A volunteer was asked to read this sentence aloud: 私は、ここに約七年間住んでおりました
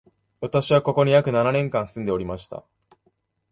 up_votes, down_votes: 2, 0